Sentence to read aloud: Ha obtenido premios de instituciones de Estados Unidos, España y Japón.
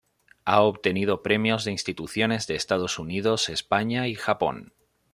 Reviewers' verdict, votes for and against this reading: accepted, 2, 0